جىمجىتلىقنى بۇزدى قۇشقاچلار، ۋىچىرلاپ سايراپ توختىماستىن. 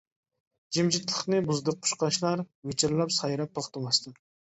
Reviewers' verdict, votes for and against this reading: rejected, 0, 2